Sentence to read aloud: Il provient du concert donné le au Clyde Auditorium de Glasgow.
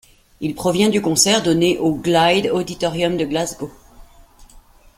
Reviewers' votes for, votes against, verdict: 0, 2, rejected